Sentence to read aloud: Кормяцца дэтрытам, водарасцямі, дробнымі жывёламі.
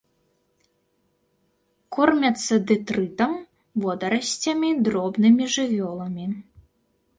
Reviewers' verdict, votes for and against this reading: accepted, 2, 0